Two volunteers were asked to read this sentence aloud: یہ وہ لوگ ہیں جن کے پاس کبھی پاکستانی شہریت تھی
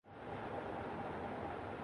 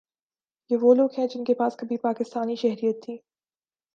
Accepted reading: second